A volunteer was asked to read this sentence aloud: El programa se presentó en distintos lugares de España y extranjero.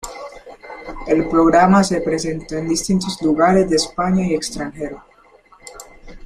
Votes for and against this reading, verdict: 1, 2, rejected